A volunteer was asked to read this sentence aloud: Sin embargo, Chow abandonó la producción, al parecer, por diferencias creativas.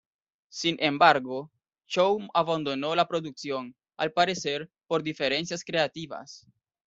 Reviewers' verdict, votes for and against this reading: accepted, 2, 0